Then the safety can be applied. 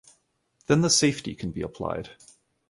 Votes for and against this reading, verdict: 2, 0, accepted